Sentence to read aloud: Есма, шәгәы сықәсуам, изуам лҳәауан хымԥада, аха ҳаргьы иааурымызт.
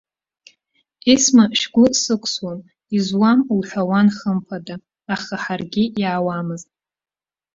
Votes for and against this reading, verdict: 0, 2, rejected